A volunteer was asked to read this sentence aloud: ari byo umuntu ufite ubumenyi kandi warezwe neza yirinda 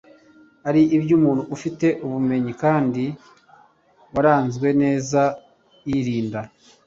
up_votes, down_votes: 0, 2